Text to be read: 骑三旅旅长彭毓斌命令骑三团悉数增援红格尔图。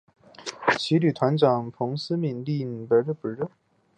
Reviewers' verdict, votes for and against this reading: accepted, 2, 0